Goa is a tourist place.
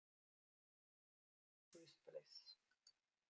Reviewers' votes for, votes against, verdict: 0, 2, rejected